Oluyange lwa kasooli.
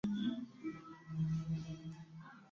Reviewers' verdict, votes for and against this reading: rejected, 1, 2